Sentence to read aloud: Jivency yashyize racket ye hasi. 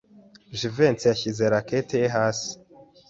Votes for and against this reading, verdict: 2, 0, accepted